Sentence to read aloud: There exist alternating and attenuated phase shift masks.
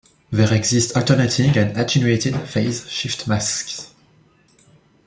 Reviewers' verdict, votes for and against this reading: accepted, 2, 0